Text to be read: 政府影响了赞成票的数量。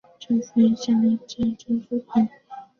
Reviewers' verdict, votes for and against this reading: rejected, 1, 2